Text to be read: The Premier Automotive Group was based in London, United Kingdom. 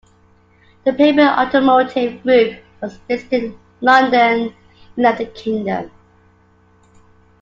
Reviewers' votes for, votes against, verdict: 0, 2, rejected